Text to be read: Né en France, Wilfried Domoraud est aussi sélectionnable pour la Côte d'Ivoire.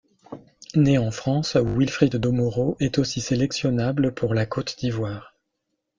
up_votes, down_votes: 1, 2